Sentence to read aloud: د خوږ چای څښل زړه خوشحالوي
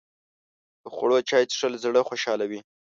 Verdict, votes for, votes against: rejected, 0, 2